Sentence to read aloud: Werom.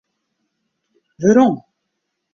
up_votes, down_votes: 2, 0